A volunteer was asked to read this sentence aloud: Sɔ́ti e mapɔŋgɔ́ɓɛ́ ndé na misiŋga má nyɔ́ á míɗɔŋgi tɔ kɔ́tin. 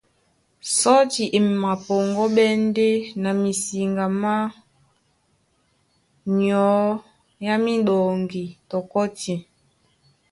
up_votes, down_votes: 2, 0